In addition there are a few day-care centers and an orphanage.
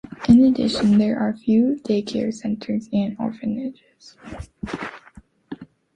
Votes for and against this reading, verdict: 0, 2, rejected